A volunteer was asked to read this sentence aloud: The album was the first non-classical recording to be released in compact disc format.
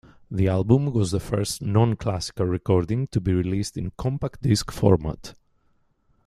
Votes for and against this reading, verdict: 2, 0, accepted